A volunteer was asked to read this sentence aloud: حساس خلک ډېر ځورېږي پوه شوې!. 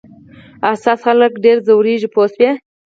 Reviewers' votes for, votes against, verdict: 4, 0, accepted